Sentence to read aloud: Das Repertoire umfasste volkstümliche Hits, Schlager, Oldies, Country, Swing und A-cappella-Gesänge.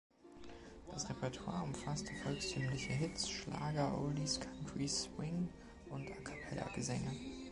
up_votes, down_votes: 2, 1